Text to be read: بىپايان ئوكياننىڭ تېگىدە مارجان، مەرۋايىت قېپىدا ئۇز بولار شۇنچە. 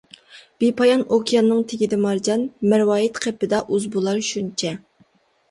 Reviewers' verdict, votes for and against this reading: accepted, 2, 0